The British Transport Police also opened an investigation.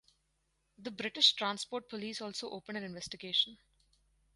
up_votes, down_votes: 2, 2